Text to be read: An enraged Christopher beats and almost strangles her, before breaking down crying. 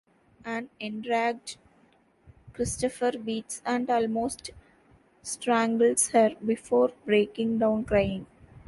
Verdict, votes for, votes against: rejected, 0, 2